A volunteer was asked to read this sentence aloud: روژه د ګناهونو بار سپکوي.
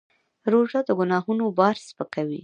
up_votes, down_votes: 1, 2